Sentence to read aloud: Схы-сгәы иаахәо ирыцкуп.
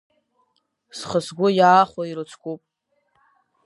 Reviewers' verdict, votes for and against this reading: rejected, 0, 2